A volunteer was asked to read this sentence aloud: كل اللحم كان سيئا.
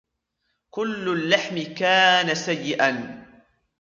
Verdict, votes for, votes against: accepted, 2, 0